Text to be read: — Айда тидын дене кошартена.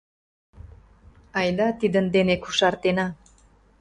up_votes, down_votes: 2, 0